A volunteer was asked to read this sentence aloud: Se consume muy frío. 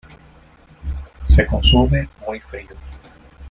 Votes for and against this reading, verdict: 1, 2, rejected